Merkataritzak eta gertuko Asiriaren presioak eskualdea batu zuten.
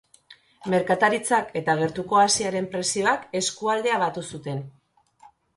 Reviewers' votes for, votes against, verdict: 1, 2, rejected